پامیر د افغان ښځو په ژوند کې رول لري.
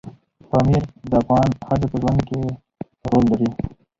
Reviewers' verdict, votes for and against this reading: accepted, 4, 0